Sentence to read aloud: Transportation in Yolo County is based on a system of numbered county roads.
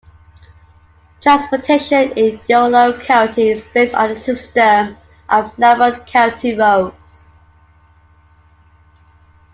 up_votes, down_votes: 2, 1